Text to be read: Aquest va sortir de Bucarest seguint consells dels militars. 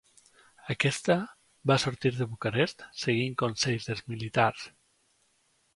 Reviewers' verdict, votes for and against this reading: rejected, 0, 2